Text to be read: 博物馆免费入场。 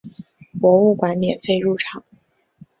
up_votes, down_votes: 5, 0